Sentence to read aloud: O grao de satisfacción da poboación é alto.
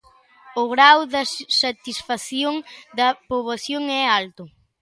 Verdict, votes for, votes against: rejected, 0, 2